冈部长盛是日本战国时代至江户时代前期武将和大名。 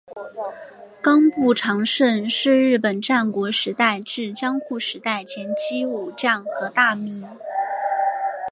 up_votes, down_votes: 2, 0